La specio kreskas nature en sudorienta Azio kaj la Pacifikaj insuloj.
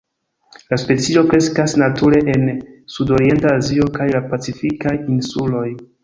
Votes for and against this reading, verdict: 1, 2, rejected